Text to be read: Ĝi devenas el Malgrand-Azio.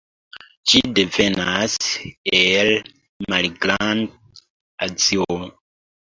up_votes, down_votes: 1, 2